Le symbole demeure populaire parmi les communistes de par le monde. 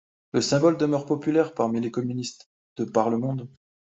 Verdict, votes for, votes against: accepted, 2, 0